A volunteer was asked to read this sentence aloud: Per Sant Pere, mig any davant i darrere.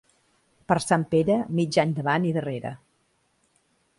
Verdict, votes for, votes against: accepted, 2, 0